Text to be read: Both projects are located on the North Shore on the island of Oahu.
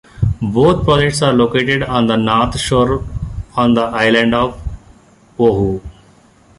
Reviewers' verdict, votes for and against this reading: rejected, 0, 2